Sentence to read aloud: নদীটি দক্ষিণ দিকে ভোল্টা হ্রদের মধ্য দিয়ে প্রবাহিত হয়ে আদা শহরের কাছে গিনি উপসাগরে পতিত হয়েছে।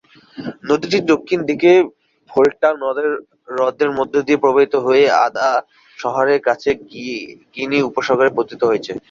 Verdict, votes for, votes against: rejected, 1, 2